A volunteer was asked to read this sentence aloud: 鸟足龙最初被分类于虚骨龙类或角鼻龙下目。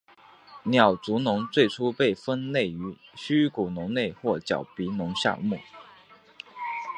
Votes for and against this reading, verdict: 3, 2, accepted